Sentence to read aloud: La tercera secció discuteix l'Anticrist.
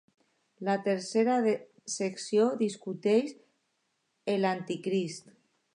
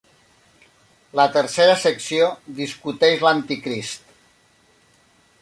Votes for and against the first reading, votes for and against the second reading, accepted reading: 0, 2, 3, 0, second